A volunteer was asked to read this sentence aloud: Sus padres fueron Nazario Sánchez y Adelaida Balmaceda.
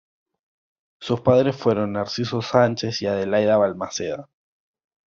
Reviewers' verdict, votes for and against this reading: accepted, 2, 1